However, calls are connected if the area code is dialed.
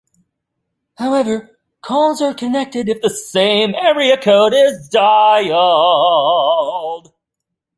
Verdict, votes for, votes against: rejected, 0, 2